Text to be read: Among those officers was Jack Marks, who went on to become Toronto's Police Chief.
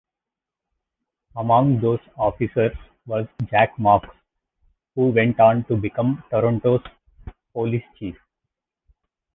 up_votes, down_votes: 2, 1